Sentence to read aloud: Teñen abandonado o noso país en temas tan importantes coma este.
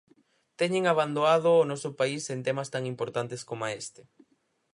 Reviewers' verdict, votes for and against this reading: rejected, 0, 4